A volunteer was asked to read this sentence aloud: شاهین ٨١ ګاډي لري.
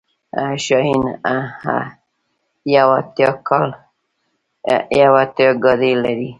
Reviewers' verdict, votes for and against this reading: rejected, 0, 2